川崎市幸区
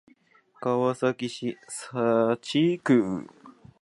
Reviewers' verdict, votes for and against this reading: rejected, 0, 2